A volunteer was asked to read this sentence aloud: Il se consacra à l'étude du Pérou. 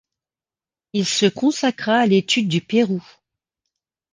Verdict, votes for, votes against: accepted, 2, 0